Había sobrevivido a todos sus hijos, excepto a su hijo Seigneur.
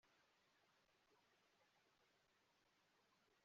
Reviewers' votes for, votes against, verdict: 0, 2, rejected